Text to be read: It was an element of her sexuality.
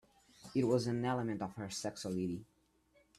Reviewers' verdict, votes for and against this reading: rejected, 0, 2